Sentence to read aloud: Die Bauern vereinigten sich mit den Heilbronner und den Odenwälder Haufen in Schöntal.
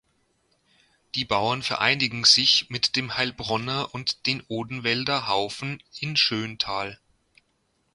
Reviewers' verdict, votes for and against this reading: rejected, 1, 2